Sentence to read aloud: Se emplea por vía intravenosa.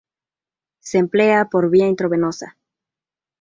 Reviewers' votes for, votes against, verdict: 0, 2, rejected